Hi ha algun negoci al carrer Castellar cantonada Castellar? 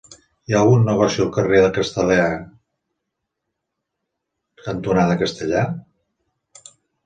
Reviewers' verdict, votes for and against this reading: rejected, 0, 2